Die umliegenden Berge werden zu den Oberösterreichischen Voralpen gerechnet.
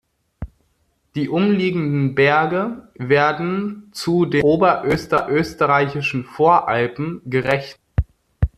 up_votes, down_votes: 0, 2